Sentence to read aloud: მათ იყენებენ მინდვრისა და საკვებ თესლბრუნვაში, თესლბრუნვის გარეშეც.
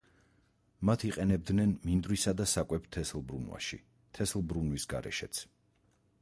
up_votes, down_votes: 2, 4